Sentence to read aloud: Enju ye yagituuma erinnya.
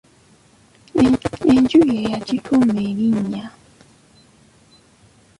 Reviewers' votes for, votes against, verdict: 1, 3, rejected